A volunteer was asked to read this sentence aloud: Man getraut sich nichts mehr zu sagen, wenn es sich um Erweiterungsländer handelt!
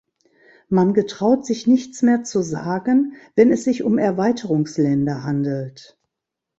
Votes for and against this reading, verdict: 3, 0, accepted